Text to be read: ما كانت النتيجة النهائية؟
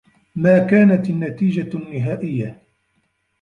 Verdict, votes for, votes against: rejected, 0, 2